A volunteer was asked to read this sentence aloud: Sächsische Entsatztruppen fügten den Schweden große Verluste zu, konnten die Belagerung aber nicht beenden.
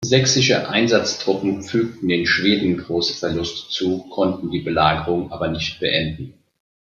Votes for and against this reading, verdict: 1, 2, rejected